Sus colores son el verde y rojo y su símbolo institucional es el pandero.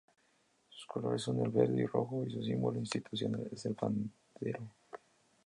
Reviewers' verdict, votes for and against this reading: rejected, 0, 2